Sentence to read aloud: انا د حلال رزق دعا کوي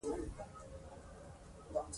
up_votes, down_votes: 1, 2